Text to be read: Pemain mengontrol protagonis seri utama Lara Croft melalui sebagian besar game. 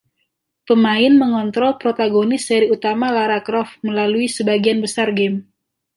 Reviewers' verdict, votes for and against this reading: accepted, 2, 0